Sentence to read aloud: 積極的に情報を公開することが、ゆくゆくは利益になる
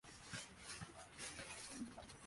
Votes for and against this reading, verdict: 1, 2, rejected